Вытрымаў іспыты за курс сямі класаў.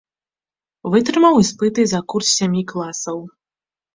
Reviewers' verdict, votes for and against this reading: accepted, 3, 0